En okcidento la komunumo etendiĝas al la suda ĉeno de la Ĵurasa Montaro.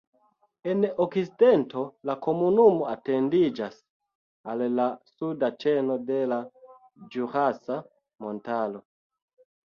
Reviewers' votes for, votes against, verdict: 0, 2, rejected